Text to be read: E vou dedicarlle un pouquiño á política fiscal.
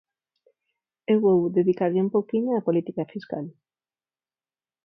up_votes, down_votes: 4, 0